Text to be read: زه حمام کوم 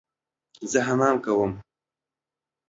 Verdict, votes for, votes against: accepted, 2, 0